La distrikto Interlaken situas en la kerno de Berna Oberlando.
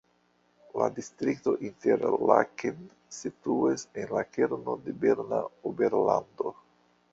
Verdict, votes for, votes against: rejected, 1, 2